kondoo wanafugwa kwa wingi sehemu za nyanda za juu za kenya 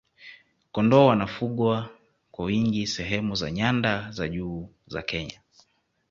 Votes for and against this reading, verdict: 2, 0, accepted